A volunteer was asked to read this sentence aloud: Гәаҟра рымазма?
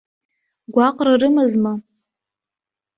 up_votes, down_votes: 2, 0